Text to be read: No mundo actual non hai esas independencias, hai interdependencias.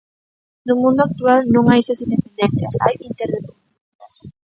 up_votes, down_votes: 0, 2